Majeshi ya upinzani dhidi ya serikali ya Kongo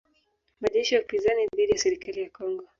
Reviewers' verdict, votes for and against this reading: rejected, 0, 2